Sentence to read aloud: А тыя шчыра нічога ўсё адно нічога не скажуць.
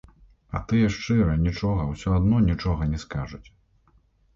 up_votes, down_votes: 1, 2